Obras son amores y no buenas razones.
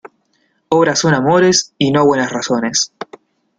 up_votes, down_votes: 2, 0